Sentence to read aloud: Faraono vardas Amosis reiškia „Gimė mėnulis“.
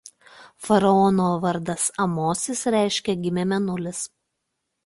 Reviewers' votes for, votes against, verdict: 2, 0, accepted